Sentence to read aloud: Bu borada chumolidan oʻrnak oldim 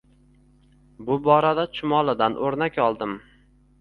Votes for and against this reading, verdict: 2, 0, accepted